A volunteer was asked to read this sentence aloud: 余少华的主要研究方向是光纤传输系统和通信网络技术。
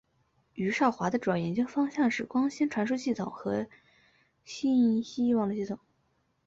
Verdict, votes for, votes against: rejected, 0, 2